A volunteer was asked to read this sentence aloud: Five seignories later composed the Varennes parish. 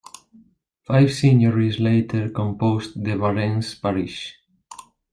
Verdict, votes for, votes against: accepted, 2, 1